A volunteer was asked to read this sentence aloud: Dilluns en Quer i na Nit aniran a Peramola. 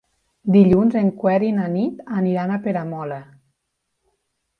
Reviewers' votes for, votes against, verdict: 1, 2, rejected